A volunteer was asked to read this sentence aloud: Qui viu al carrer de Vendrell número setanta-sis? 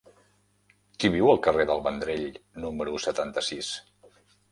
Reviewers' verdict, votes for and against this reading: rejected, 0, 2